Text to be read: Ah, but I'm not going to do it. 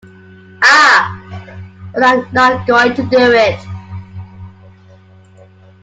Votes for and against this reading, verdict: 2, 0, accepted